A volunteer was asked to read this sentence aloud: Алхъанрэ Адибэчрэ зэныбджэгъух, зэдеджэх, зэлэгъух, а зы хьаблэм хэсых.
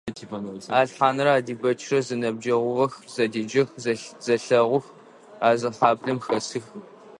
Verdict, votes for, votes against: rejected, 0, 2